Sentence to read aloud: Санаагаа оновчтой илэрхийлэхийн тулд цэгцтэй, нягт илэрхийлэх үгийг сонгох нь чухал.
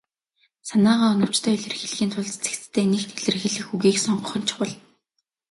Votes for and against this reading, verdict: 2, 0, accepted